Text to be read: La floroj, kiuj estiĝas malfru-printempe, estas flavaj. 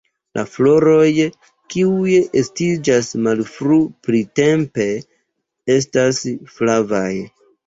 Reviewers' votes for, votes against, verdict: 0, 2, rejected